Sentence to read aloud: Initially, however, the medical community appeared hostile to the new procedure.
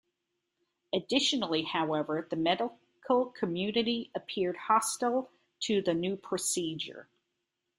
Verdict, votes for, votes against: rejected, 0, 2